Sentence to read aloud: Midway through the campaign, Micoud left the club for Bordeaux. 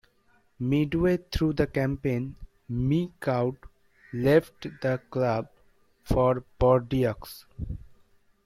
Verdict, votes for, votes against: rejected, 1, 2